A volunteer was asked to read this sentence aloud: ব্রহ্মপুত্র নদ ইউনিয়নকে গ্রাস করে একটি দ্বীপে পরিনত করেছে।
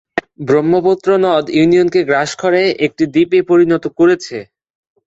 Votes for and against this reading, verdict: 6, 0, accepted